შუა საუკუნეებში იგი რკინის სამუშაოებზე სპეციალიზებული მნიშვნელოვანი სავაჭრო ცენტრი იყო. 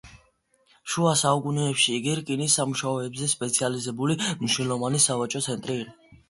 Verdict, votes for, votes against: accepted, 2, 0